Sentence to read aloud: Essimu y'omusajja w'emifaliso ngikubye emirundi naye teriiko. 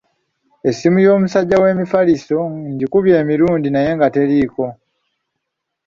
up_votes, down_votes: 1, 2